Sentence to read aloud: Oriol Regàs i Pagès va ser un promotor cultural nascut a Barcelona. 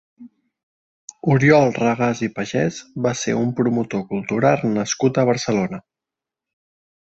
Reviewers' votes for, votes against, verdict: 1, 2, rejected